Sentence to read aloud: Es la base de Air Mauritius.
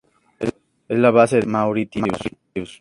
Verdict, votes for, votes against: accepted, 2, 0